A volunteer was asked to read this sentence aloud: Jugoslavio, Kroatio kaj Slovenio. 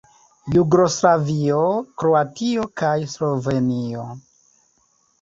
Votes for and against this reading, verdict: 3, 2, accepted